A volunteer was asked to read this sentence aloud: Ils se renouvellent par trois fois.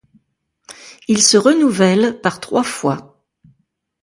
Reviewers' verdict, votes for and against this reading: accepted, 2, 0